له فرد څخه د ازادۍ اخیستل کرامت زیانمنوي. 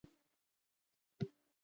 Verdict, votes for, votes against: rejected, 0, 2